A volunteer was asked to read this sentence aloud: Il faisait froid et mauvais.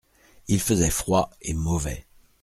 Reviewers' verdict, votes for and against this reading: accepted, 2, 0